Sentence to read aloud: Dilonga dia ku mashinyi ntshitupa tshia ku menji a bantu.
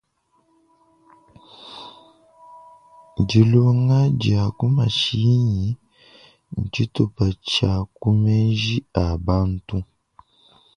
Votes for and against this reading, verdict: 2, 1, accepted